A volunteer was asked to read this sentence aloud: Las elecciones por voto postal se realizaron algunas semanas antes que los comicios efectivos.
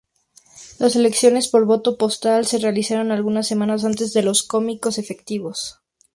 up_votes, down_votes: 0, 2